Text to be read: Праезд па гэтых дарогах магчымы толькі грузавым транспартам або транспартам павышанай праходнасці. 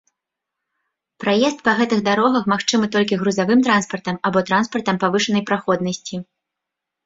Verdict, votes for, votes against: accepted, 2, 0